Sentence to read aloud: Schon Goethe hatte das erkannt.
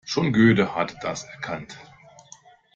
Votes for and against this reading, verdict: 0, 2, rejected